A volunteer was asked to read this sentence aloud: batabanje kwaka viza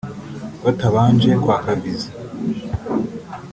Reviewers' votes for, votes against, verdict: 0, 2, rejected